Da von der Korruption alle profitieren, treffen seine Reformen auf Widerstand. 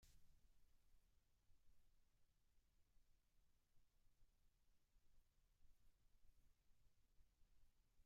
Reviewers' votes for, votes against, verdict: 0, 2, rejected